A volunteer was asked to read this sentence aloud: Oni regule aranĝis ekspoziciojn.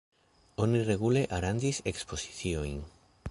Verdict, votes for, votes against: rejected, 1, 2